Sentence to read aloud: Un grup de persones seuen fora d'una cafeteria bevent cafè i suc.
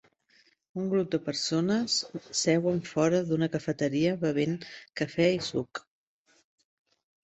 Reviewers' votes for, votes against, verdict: 4, 0, accepted